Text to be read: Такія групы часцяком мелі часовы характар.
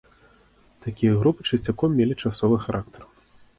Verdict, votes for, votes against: accepted, 2, 0